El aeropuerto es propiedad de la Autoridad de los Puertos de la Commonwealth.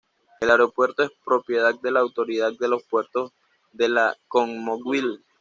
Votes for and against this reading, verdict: 1, 2, rejected